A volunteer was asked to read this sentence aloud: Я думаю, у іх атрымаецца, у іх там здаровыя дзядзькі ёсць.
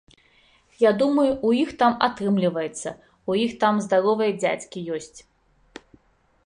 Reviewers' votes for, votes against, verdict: 0, 2, rejected